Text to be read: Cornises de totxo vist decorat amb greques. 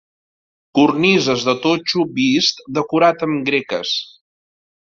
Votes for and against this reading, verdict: 2, 0, accepted